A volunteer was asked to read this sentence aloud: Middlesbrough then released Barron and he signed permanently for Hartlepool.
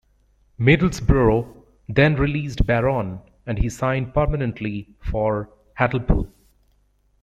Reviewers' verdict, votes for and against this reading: accepted, 2, 1